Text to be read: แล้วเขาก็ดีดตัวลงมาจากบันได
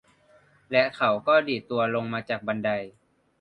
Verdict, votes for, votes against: rejected, 1, 2